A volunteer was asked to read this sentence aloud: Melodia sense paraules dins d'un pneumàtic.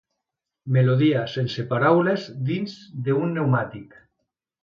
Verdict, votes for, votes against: rejected, 0, 2